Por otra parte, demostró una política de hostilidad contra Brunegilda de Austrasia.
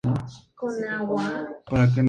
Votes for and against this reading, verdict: 2, 0, accepted